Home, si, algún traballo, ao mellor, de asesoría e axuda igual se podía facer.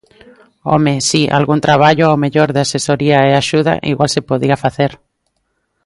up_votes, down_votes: 2, 0